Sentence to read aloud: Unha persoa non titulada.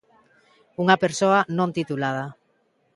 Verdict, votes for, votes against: accepted, 2, 0